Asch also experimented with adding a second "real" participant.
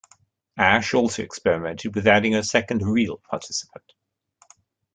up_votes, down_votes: 1, 2